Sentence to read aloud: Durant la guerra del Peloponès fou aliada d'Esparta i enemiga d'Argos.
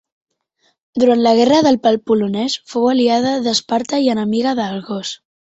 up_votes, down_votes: 1, 2